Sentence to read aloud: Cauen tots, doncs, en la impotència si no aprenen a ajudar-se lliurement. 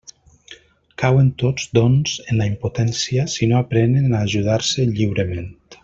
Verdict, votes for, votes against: accepted, 2, 0